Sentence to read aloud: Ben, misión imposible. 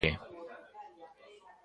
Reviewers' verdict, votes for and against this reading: rejected, 0, 2